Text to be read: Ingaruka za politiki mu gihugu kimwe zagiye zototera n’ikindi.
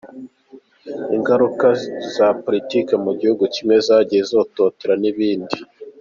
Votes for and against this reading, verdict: 1, 2, rejected